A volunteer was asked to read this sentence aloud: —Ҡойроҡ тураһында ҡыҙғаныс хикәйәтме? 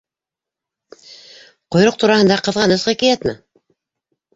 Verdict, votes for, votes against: accepted, 2, 1